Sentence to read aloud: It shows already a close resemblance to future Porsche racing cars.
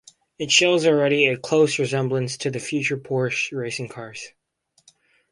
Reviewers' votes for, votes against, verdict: 4, 2, accepted